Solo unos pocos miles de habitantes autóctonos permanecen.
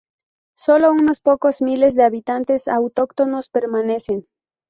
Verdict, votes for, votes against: accepted, 4, 0